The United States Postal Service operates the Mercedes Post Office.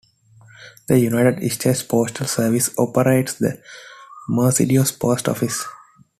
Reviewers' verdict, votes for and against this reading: accepted, 2, 0